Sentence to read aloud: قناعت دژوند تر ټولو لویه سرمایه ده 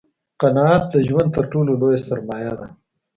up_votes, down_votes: 2, 0